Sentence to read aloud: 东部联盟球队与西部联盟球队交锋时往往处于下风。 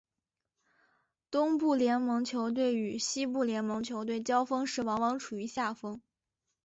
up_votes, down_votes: 3, 0